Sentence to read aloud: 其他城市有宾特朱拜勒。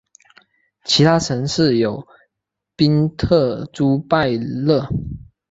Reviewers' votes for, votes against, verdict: 4, 0, accepted